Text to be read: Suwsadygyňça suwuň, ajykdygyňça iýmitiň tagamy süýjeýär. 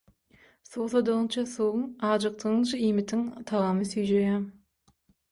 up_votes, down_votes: 6, 0